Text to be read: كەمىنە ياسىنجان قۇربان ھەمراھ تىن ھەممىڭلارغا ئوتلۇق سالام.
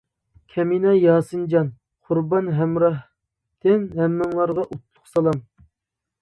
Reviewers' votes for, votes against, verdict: 1, 2, rejected